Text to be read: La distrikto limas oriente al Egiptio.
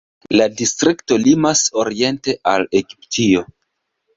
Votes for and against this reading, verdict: 2, 0, accepted